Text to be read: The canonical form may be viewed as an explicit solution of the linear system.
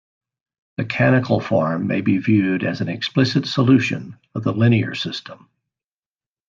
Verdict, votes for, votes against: rejected, 1, 2